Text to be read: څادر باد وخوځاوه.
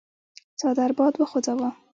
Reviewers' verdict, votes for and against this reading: accepted, 2, 1